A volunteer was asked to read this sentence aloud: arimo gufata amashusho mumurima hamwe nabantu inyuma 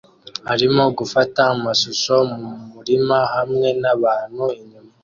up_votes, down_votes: 2, 1